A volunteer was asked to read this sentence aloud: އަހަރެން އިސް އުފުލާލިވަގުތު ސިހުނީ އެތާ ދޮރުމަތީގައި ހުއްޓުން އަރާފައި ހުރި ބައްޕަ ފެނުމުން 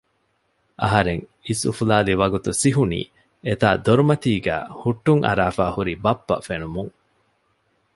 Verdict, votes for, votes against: accepted, 2, 0